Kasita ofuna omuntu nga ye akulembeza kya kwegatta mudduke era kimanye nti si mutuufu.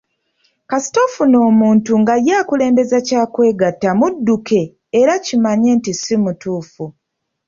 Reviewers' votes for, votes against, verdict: 2, 0, accepted